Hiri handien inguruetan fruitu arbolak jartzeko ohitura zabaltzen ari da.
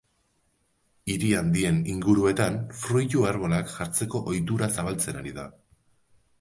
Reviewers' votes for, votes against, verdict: 2, 1, accepted